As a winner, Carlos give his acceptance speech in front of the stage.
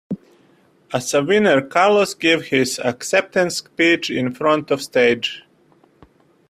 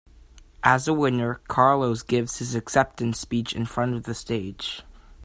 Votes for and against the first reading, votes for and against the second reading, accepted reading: 0, 2, 2, 1, second